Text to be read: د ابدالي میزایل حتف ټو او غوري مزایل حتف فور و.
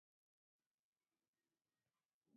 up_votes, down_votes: 0, 4